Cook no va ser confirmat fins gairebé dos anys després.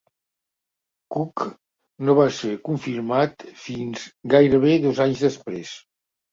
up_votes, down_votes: 2, 0